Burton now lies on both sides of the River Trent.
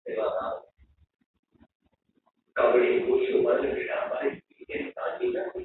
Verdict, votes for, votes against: rejected, 0, 2